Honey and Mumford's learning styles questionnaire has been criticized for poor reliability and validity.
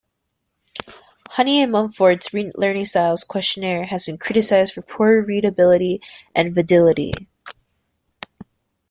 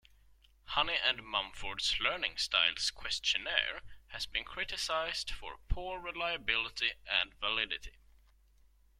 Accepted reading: second